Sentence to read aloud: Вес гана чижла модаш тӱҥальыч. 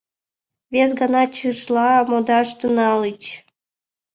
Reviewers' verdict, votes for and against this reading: accepted, 2, 1